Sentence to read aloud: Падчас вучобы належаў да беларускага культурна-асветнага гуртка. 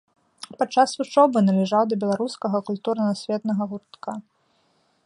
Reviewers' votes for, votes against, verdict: 0, 2, rejected